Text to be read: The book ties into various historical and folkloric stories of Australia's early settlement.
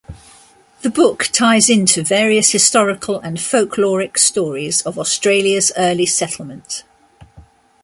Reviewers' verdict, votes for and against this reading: rejected, 0, 2